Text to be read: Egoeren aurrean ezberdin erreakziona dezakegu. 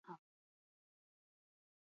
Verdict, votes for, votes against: rejected, 2, 2